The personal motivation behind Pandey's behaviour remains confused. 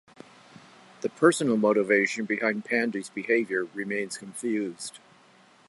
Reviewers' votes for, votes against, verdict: 2, 0, accepted